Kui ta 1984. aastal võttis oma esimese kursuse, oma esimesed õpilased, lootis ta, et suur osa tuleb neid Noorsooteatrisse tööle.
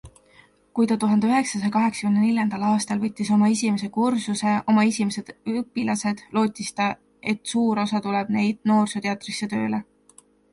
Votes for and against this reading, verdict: 0, 2, rejected